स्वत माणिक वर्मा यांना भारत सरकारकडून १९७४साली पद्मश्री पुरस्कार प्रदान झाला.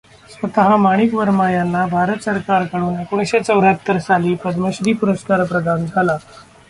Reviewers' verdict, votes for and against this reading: rejected, 0, 2